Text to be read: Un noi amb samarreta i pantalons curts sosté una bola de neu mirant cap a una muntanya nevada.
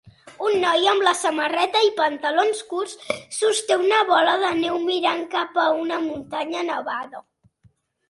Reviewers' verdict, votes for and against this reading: accepted, 3, 0